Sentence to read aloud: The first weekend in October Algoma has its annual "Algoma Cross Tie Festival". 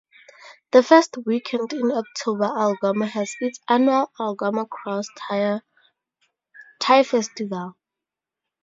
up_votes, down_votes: 0, 2